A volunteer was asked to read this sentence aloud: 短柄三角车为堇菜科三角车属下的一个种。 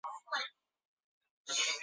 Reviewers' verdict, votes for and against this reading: rejected, 0, 2